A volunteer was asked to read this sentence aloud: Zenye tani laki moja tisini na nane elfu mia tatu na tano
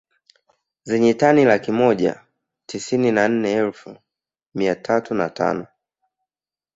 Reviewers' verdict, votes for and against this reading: rejected, 1, 2